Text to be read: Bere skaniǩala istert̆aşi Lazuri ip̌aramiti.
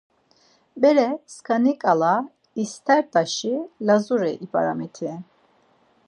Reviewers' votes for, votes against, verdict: 4, 0, accepted